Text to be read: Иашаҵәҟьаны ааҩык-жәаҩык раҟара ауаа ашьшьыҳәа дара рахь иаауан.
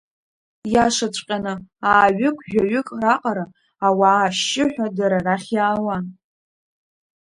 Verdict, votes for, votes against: accepted, 3, 0